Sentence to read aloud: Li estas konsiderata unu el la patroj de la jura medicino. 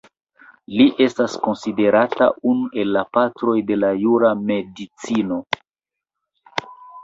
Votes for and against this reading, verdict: 0, 2, rejected